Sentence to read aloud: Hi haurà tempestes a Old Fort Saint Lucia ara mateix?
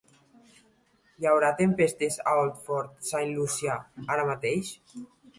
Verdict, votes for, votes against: accepted, 2, 0